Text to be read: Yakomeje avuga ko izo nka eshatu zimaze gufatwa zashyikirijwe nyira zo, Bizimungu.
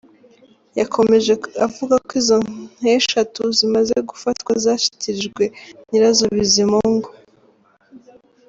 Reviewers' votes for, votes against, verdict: 2, 3, rejected